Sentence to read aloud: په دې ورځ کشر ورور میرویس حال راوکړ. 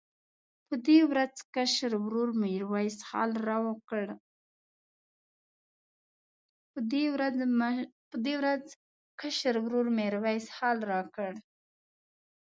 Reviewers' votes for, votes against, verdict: 2, 3, rejected